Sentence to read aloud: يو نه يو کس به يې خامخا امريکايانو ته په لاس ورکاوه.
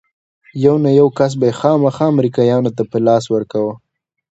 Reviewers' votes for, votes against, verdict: 2, 0, accepted